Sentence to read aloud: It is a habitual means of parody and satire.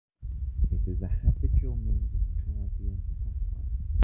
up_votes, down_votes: 0, 2